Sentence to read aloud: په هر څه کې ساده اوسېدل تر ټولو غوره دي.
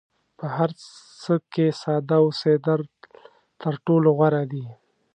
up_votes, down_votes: 2, 0